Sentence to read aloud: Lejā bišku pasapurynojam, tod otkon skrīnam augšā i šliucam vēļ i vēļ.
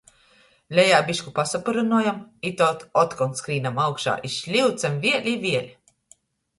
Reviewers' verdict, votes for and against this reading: rejected, 1, 2